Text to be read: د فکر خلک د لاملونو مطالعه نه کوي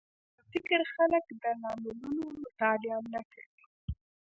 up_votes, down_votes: 1, 2